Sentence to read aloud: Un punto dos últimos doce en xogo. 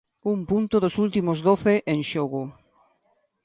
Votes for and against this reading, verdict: 2, 0, accepted